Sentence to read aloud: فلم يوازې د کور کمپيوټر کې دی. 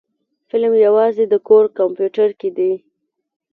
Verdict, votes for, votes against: accepted, 2, 0